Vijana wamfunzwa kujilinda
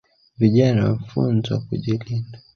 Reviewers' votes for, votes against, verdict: 1, 2, rejected